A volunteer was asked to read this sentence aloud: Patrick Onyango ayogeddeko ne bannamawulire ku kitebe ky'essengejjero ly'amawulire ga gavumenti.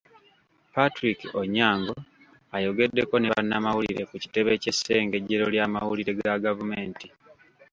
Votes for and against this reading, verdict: 2, 0, accepted